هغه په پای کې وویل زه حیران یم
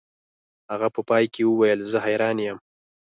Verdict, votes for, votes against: accepted, 4, 0